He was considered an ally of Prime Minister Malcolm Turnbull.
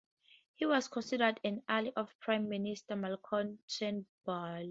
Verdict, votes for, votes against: accepted, 2, 0